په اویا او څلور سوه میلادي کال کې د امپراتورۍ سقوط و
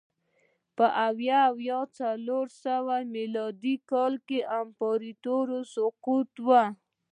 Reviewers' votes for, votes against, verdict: 2, 3, rejected